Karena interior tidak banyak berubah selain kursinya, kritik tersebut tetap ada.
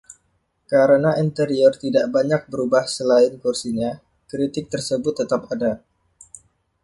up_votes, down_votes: 2, 1